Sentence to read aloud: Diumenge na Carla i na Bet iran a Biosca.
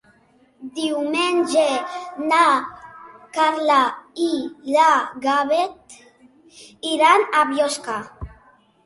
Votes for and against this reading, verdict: 2, 1, accepted